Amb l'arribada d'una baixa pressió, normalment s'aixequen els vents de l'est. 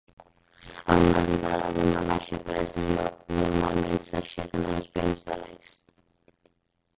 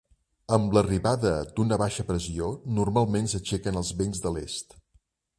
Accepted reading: second